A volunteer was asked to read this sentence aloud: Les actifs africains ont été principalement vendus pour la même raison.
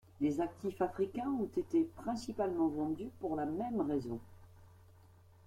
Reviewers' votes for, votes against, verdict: 3, 2, accepted